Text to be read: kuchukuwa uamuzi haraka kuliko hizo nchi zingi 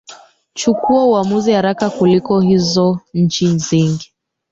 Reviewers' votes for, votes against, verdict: 0, 3, rejected